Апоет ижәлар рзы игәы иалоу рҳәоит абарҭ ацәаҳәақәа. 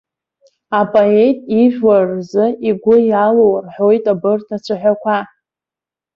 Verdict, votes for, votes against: accepted, 2, 1